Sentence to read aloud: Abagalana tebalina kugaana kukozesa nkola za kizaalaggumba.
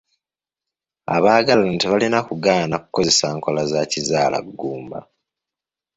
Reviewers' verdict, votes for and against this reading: accepted, 2, 0